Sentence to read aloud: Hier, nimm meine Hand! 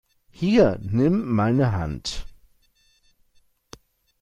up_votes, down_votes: 0, 2